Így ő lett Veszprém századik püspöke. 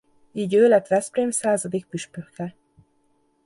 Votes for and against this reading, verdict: 1, 2, rejected